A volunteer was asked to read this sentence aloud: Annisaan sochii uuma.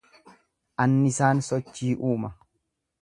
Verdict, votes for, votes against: accepted, 2, 0